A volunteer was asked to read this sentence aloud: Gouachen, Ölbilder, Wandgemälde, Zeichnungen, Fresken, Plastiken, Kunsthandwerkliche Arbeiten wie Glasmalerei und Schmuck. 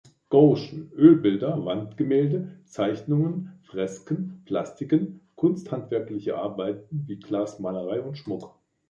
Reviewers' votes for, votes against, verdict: 0, 2, rejected